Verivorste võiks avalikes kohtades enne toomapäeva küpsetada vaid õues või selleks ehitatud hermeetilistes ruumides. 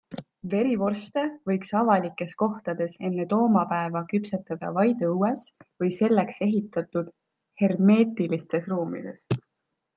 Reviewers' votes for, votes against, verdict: 2, 0, accepted